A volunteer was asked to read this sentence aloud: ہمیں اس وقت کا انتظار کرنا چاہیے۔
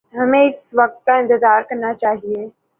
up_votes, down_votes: 2, 0